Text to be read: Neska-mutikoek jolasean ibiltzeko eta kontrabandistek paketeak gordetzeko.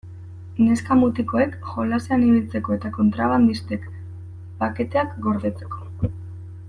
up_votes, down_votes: 2, 0